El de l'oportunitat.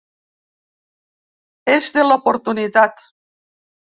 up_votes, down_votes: 1, 5